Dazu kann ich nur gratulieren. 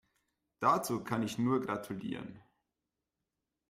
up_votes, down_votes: 2, 1